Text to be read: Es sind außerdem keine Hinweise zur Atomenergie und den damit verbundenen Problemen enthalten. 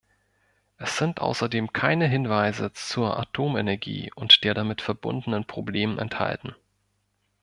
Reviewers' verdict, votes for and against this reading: rejected, 1, 2